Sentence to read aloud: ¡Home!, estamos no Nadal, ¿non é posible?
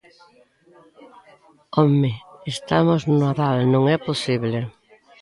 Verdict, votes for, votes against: accepted, 2, 0